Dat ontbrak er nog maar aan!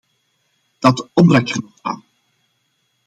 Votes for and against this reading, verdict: 0, 2, rejected